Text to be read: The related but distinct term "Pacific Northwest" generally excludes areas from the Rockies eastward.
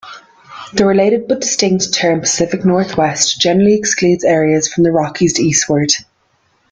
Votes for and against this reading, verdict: 2, 0, accepted